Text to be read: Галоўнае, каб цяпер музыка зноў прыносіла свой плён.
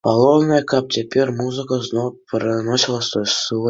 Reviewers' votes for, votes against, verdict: 0, 2, rejected